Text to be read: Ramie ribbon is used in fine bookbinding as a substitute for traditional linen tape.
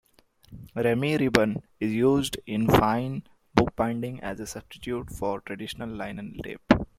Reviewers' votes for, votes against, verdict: 2, 1, accepted